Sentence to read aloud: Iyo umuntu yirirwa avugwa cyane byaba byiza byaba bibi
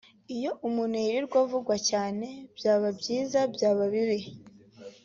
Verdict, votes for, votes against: accepted, 2, 0